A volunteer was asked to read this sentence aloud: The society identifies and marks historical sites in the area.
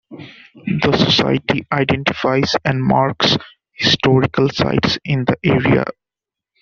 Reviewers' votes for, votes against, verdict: 2, 1, accepted